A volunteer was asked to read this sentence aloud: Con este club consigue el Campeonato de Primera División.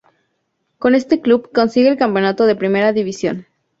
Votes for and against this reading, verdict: 4, 0, accepted